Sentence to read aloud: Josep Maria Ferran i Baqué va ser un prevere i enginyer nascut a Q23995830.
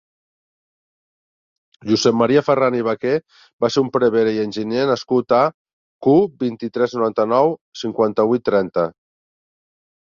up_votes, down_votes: 0, 2